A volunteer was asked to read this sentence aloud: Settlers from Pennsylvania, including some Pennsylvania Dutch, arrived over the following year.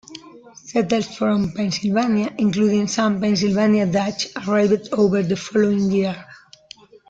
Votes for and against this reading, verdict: 2, 1, accepted